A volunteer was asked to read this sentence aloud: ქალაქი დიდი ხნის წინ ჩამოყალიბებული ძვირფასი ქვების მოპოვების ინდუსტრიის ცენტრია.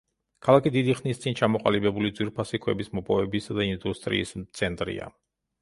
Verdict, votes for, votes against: rejected, 0, 2